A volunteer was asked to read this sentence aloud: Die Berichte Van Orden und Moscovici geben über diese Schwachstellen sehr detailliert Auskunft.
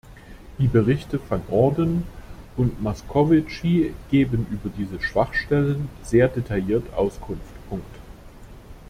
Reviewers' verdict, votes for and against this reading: rejected, 1, 2